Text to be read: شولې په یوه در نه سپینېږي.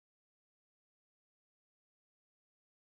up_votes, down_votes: 1, 2